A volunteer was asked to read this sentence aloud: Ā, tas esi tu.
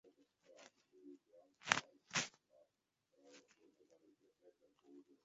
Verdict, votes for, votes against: rejected, 0, 9